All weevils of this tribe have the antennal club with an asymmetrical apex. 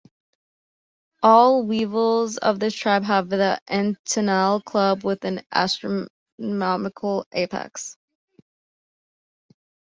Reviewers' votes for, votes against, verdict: 1, 2, rejected